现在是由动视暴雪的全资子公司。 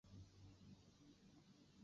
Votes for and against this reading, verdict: 0, 2, rejected